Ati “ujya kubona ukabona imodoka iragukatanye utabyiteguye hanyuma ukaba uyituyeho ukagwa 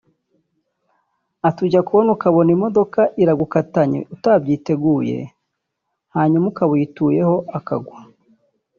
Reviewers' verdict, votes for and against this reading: rejected, 0, 2